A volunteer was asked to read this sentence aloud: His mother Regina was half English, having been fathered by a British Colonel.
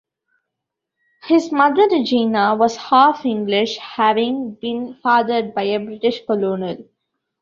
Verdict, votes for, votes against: rejected, 1, 2